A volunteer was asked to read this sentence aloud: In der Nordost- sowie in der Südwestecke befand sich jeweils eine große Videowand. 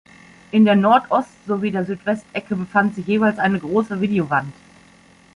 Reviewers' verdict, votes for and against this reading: rejected, 1, 2